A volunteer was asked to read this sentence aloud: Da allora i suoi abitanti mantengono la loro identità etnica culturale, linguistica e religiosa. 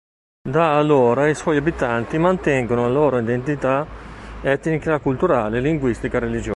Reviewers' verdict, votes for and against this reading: rejected, 0, 2